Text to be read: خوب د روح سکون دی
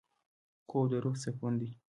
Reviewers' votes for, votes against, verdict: 1, 2, rejected